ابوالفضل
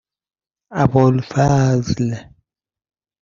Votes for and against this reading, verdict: 2, 0, accepted